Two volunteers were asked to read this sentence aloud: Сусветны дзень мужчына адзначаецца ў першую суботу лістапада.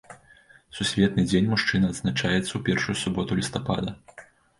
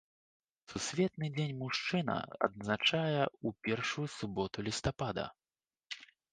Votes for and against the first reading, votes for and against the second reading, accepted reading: 2, 0, 0, 2, first